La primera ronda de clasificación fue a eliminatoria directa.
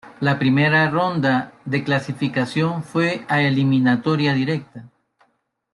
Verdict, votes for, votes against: rejected, 0, 2